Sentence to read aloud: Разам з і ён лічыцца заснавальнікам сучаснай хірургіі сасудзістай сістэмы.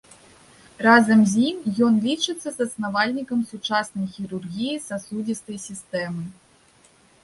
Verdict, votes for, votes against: accepted, 2, 1